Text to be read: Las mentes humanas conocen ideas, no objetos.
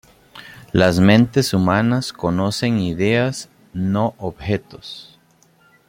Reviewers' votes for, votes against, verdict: 2, 0, accepted